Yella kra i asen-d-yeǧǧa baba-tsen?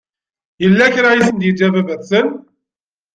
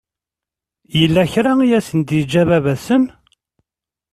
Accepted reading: second